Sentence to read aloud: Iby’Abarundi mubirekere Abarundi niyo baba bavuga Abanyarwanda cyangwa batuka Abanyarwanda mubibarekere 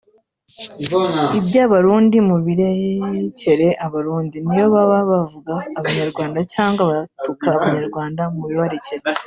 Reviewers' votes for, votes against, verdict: 0, 2, rejected